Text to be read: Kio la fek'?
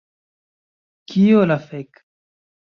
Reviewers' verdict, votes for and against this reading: accepted, 2, 0